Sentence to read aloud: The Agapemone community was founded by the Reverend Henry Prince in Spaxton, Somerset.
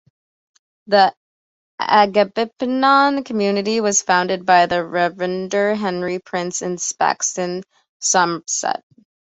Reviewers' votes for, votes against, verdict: 1, 2, rejected